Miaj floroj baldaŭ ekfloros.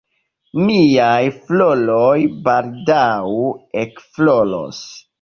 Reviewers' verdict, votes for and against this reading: rejected, 0, 2